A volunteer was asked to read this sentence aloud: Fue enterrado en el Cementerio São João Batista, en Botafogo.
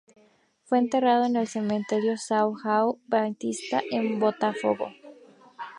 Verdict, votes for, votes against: rejected, 0, 2